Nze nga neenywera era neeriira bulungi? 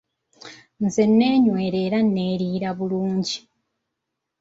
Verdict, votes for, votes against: accepted, 2, 0